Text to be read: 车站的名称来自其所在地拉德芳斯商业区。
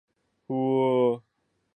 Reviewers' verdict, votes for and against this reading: rejected, 1, 2